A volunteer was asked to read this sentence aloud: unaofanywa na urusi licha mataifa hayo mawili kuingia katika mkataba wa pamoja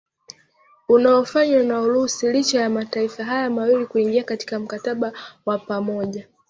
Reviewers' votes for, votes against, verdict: 2, 1, accepted